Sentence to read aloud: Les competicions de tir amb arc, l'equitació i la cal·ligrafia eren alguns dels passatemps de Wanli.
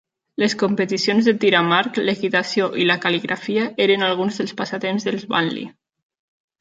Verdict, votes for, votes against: rejected, 1, 2